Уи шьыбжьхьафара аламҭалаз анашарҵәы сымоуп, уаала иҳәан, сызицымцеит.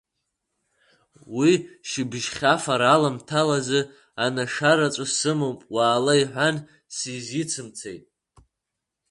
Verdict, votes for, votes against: rejected, 0, 2